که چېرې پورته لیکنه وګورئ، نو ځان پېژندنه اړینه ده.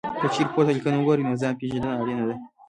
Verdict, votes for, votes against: rejected, 1, 2